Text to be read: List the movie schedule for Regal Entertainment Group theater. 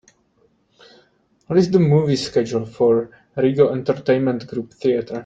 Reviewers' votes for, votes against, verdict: 2, 3, rejected